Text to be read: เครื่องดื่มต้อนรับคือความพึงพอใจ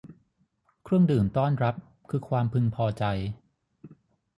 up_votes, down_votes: 3, 0